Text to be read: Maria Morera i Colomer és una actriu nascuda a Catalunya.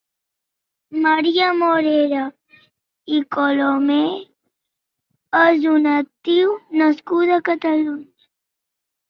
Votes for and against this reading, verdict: 0, 2, rejected